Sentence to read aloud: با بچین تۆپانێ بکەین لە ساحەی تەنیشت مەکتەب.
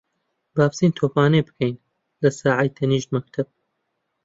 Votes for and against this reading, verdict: 2, 0, accepted